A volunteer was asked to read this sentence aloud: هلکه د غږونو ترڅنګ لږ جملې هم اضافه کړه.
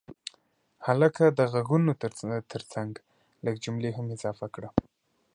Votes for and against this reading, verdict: 4, 0, accepted